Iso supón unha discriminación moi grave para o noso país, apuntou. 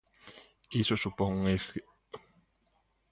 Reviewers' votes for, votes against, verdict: 0, 2, rejected